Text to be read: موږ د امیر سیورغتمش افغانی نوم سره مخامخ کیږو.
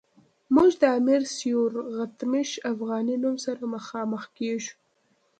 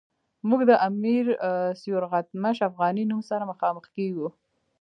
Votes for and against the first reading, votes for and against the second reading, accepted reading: 1, 2, 2, 1, second